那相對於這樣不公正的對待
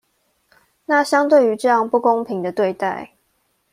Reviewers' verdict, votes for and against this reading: rejected, 0, 2